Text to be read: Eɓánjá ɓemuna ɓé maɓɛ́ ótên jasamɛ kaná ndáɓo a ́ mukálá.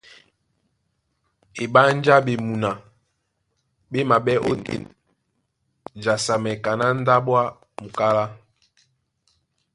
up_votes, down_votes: 2, 0